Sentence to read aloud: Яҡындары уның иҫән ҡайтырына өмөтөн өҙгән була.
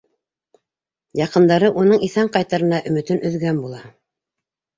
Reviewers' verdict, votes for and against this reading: accepted, 2, 0